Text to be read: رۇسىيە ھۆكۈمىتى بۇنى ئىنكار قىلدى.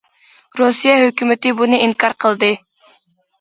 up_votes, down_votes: 2, 0